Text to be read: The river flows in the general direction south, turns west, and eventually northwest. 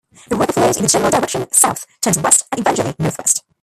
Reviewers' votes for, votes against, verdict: 0, 2, rejected